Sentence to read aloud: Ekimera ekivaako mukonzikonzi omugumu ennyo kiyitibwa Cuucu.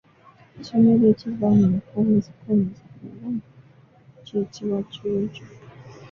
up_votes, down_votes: 0, 2